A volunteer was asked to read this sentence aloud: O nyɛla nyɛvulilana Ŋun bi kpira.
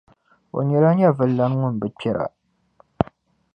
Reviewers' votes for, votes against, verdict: 2, 0, accepted